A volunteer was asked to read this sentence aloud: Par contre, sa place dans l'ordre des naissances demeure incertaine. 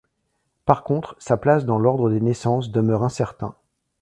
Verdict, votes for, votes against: rejected, 0, 2